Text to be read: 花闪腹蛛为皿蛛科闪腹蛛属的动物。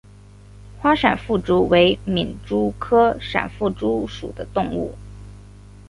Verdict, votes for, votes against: accepted, 2, 0